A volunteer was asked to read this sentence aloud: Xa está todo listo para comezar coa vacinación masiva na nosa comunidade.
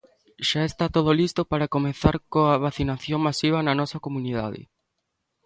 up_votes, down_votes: 2, 0